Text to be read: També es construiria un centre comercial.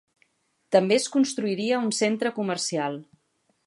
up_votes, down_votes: 4, 0